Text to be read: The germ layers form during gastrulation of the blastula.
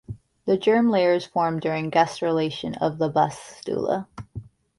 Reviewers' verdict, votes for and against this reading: rejected, 1, 2